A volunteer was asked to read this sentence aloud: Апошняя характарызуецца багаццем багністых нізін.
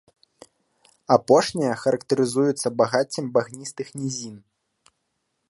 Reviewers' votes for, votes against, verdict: 2, 0, accepted